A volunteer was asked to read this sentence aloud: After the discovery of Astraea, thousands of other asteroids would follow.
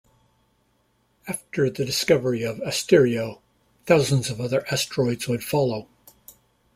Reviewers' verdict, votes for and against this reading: rejected, 0, 2